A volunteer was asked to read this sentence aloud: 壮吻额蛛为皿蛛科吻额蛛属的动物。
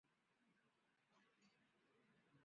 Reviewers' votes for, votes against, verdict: 0, 2, rejected